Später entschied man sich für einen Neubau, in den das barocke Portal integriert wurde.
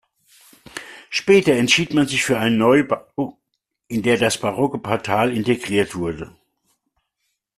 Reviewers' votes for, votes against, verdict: 0, 2, rejected